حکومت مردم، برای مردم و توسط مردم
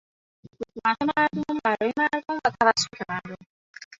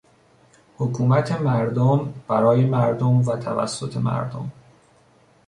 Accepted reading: second